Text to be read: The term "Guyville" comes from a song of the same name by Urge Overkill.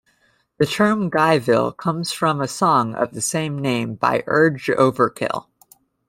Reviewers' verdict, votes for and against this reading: accepted, 2, 0